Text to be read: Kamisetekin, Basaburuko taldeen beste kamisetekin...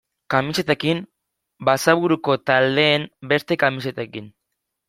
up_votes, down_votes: 2, 0